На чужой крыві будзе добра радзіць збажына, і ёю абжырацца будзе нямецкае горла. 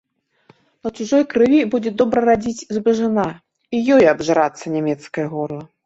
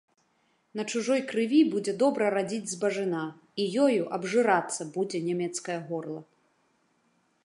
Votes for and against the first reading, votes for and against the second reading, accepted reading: 1, 2, 2, 0, second